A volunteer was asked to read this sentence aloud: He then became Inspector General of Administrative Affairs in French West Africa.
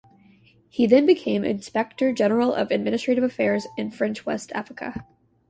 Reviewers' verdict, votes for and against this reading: rejected, 0, 2